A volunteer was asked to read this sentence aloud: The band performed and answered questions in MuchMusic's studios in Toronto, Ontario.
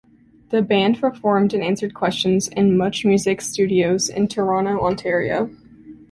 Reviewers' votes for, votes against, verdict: 2, 0, accepted